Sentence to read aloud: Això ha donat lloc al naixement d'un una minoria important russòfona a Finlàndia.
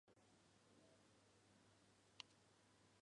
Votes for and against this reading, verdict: 0, 2, rejected